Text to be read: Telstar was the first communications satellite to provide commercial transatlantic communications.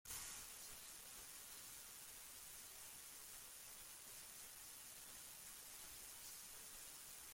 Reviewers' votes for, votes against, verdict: 0, 2, rejected